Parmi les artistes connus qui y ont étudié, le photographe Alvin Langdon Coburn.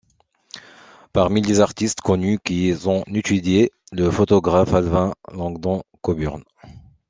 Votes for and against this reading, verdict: 0, 2, rejected